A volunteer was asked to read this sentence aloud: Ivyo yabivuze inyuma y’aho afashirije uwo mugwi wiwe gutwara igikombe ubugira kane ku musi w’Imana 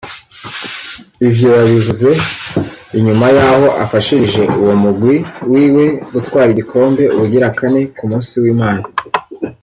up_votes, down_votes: 0, 2